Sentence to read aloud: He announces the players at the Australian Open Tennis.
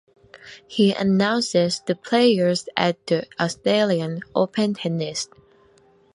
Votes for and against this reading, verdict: 3, 1, accepted